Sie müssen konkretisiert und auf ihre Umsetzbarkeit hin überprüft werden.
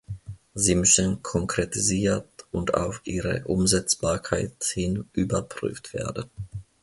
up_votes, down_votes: 1, 2